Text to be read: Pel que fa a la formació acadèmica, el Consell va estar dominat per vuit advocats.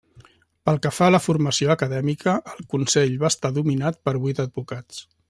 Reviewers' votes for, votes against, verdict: 3, 0, accepted